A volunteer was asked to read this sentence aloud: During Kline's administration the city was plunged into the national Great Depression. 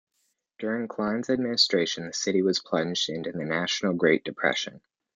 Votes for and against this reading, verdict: 2, 0, accepted